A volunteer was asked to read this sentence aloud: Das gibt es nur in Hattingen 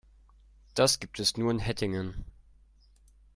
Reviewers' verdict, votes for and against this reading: rejected, 0, 2